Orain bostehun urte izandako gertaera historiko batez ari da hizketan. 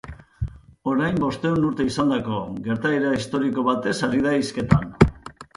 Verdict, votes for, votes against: accepted, 3, 0